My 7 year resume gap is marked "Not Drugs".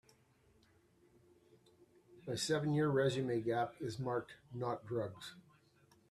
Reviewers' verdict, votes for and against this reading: rejected, 0, 2